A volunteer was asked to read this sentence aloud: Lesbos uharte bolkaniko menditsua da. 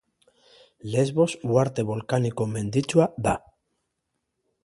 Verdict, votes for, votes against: accepted, 2, 0